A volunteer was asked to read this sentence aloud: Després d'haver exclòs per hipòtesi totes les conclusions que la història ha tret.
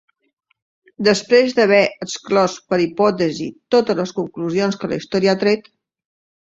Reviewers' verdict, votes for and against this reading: rejected, 0, 2